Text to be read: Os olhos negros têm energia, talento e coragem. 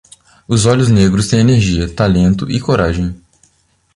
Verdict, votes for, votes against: accepted, 2, 0